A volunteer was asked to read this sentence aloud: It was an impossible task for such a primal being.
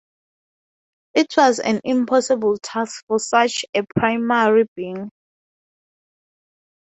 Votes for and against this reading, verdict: 6, 0, accepted